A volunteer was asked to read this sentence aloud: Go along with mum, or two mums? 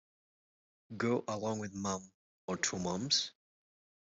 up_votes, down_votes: 2, 0